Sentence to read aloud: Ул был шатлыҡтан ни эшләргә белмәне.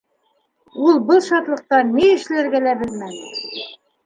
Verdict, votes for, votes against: rejected, 1, 2